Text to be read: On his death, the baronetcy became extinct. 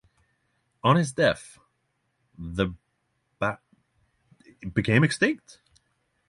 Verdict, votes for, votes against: rejected, 0, 6